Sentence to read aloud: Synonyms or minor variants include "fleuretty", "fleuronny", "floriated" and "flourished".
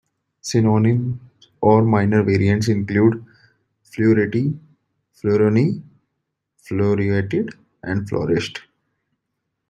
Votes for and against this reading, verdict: 0, 2, rejected